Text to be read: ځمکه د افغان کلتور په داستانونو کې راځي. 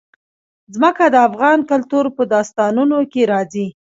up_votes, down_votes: 1, 2